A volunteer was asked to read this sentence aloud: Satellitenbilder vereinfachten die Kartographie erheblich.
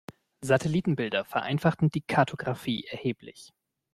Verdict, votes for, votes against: accepted, 2, 0